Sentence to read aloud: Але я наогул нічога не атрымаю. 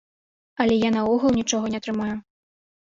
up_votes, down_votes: 2, 0